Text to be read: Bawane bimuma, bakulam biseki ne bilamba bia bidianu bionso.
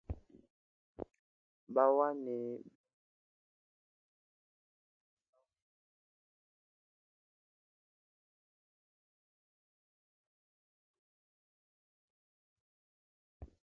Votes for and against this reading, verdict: 0, 2, rejected